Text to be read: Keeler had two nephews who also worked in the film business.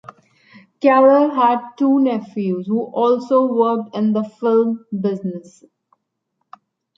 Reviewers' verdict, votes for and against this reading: rejected, 1, 2